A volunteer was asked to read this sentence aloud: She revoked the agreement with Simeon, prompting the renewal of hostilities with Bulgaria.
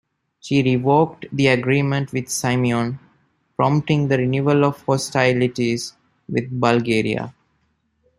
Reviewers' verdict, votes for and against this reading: accepted, 2, 0